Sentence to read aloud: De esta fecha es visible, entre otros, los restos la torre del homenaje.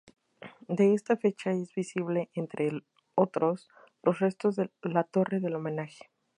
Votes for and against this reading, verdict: 2, 2, rejected